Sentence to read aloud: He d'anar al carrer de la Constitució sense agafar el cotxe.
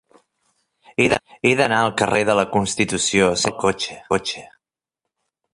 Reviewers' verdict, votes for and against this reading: rejected, 0, 2